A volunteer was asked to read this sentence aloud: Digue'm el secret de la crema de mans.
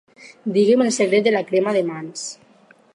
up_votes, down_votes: 4, 0